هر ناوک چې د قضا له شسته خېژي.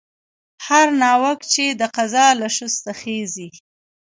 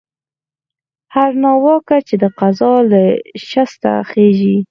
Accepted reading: first